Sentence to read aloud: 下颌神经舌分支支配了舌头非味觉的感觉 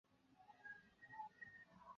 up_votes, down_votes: 0, 2